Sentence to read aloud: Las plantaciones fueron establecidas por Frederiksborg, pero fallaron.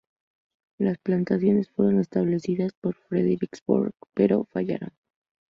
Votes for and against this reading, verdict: 0, 2, rejected